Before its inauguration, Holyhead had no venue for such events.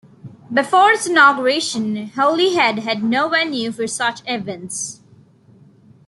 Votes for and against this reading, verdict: 2, 0, accepted